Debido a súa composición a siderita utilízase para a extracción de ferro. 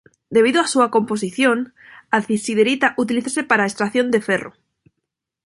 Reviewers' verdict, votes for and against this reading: rejected, 0, 2